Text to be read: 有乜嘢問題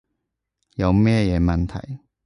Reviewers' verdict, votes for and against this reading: rejected, 1, 2